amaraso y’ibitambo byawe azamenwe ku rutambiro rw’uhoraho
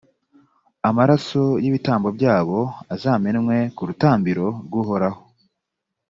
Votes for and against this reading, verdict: 0, 2, rejected